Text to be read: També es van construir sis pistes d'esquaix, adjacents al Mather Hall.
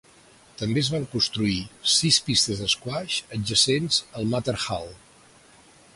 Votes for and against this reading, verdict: 2, 0, accepted